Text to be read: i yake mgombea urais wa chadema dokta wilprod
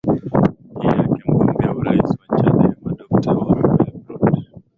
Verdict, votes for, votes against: rejected, 2, 3